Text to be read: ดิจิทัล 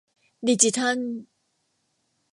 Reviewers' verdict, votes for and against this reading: rejected, 1, 2